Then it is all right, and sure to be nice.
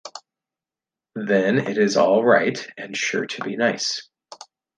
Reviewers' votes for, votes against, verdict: 2, 0, accepted